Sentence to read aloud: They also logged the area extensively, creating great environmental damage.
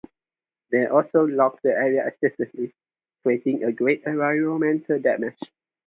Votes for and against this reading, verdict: 2, 0, accepted